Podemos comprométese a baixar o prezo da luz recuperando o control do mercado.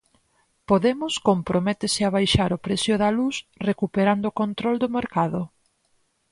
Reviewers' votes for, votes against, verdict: 2, 8, rejected